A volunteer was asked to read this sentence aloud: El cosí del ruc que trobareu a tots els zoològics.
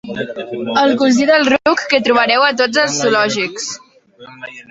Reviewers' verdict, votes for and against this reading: rejected, 0, 3